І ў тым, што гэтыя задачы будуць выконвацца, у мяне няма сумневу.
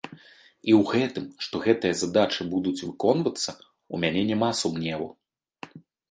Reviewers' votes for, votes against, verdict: 0, 2, rejected